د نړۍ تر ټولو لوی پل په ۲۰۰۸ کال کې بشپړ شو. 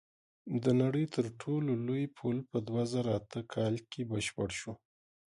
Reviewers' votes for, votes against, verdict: 0, 2, rejected